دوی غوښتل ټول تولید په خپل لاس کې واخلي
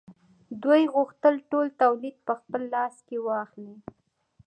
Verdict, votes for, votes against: accepted, 2, 0